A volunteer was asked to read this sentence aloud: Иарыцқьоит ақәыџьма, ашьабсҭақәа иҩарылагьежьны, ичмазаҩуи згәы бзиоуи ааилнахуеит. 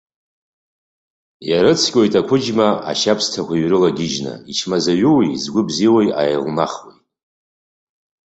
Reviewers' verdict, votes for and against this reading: accepted, 2, 0